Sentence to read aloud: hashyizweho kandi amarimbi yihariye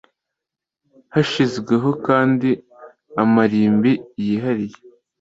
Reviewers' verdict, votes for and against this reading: accepted, 2, 0